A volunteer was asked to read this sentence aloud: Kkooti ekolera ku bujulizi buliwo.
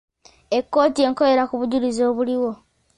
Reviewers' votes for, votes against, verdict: 2, 1, accepted